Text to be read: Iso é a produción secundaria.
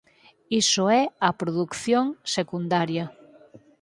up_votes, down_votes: 0, 4